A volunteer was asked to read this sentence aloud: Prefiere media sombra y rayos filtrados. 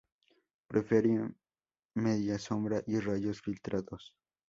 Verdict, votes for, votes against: rejected, 0, 2